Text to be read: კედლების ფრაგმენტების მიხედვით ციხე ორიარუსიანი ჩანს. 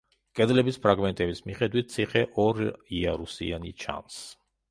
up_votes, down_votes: 1, 2